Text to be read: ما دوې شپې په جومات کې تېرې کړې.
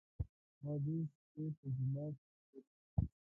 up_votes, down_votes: 0, 2